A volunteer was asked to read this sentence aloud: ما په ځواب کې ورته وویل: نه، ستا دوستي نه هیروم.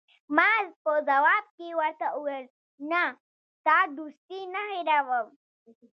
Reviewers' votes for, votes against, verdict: 2, 1, accepted